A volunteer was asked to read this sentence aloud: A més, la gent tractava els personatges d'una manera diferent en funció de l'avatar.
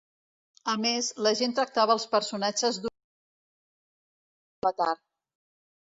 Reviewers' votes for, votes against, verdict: 0, 2, rejected